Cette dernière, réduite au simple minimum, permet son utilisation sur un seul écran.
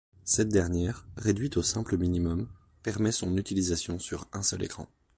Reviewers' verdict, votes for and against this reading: accepted, 2, 0